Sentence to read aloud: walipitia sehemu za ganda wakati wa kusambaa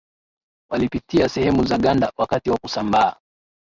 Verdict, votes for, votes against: accepted, 2, 0